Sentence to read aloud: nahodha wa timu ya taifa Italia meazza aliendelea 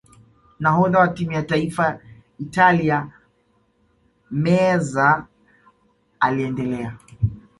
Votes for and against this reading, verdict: 2, 1, accepted